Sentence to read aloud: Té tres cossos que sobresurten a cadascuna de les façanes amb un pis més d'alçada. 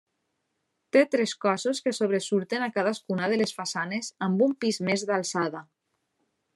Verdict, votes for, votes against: accepted, 2, 0